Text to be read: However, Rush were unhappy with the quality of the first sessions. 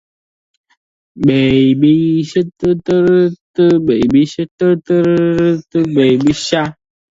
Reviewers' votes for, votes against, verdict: 0, 2, rejected